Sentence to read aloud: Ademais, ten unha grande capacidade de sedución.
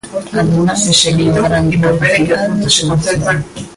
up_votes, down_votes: 1, 2